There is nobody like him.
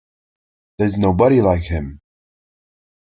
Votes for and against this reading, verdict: 2, 0, accepted